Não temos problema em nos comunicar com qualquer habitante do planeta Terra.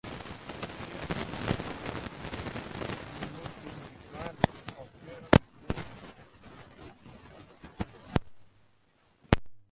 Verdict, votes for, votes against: rejected, 0, 2